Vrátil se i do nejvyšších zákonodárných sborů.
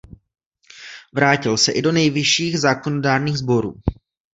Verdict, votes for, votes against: accepted, 2, 1